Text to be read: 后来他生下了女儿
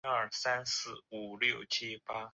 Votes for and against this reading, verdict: 0, 2, rejected